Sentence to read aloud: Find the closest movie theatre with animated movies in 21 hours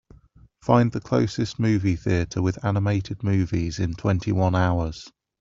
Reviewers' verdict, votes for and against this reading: rejected, 0, 2